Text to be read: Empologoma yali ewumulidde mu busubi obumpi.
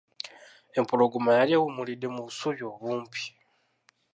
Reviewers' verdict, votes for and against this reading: rejected, 0, 2